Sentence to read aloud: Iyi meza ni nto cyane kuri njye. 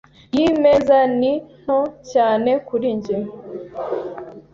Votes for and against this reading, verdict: 2, 0, accepted